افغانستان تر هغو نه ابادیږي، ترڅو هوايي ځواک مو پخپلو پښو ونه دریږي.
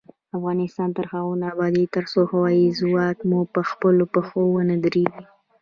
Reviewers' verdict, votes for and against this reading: accepted, 2, 0